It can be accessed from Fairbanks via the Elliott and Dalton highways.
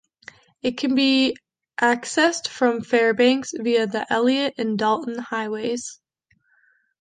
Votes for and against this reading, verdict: 2, 0, accepted